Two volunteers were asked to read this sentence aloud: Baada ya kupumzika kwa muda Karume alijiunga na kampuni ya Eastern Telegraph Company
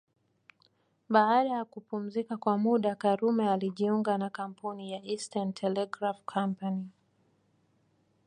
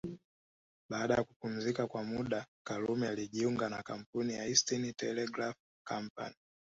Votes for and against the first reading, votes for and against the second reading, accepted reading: 2, 1, 1, 2, first